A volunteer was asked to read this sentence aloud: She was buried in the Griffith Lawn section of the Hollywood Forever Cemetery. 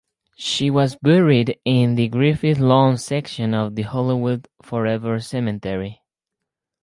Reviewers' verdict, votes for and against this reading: accepted, 4, 0